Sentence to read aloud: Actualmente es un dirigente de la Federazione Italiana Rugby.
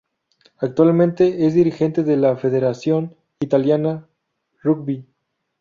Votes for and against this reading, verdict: 0, 2, rejected